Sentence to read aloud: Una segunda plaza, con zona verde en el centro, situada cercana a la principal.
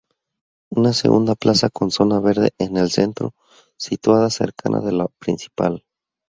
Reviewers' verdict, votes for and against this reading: rejected, 0, 4